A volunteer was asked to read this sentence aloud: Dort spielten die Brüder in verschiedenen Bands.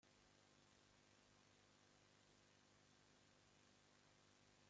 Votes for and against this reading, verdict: 0, 2, rejected